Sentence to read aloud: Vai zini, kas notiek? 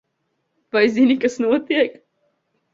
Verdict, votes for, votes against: accepted, 3, 0